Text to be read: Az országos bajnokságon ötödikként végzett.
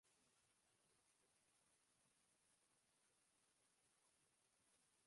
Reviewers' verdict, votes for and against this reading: rejected, 0, 2